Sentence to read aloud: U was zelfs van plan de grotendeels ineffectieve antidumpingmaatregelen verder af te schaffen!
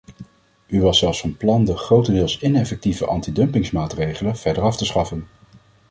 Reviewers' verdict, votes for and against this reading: rejected, 1, 2